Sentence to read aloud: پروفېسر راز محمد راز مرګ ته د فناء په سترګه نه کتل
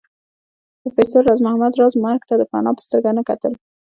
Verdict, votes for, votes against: accepted, 2, 1